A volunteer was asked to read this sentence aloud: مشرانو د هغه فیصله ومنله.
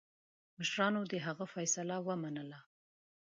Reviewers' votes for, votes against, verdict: 2, 0, accepted